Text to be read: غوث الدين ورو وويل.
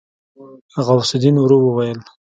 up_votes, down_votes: 0, 2